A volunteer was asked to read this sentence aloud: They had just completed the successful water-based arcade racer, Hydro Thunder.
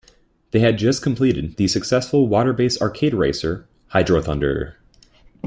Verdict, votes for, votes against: accepted, 2, 1